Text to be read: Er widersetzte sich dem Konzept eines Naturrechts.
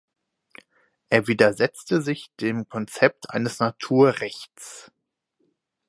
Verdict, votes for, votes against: accepted, 4, 0